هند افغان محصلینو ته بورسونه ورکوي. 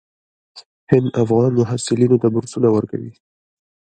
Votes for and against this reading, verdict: 0, 2, rejected